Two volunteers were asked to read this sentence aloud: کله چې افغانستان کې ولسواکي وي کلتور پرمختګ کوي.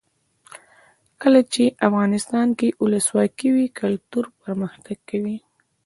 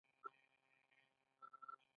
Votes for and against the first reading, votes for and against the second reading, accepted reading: 2, 0, 1, 2, first